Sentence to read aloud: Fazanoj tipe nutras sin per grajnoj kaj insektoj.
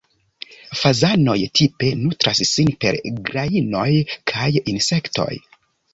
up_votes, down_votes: 3, 0